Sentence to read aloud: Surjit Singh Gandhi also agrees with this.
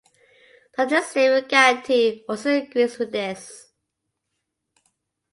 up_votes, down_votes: 1, 2